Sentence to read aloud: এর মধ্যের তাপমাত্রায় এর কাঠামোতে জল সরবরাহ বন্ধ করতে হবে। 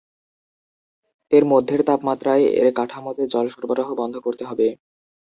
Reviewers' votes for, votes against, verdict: 1, 2, rejected